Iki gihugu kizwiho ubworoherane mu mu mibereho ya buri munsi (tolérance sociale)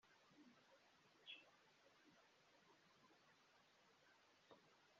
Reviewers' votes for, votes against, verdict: 0, 3, rejected